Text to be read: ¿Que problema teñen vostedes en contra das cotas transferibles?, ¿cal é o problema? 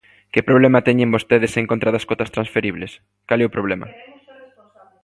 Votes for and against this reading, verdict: 2, 1, accepted